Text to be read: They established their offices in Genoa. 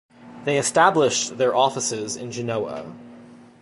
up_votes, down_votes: 2, 0